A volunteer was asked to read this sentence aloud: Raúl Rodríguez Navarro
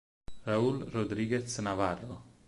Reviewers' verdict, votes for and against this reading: accepted, 6, 0